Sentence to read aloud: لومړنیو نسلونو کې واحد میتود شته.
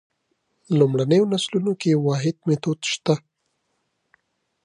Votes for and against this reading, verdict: 2, 0, accepted